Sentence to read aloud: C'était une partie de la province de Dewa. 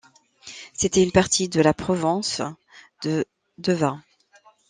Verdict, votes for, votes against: rejected, 1, 2